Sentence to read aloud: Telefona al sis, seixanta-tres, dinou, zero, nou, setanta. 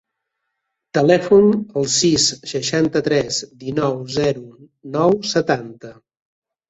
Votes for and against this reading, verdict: 0, 2, rejected